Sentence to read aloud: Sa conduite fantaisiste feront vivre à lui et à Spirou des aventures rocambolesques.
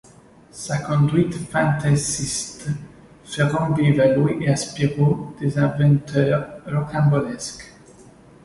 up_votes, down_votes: 0, 2